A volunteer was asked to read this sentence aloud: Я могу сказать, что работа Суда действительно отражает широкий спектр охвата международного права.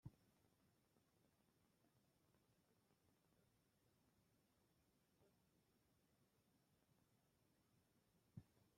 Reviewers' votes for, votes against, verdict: 0, 2, rejected